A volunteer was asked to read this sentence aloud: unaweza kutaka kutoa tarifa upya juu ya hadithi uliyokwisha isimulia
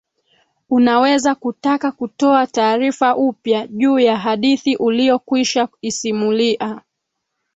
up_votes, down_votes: 2, 1